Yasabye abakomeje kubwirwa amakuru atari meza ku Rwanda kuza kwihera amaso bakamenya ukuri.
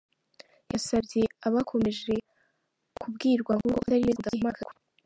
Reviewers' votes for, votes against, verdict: 0, 2, rejected